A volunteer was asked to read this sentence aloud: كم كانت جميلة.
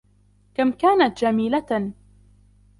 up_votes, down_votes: 2, 1